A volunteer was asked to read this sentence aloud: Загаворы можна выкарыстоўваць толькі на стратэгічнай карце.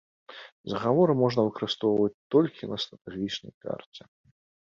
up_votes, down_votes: 2, 1